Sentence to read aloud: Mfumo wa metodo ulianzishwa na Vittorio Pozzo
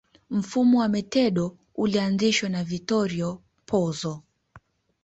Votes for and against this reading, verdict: 2, 1, accepted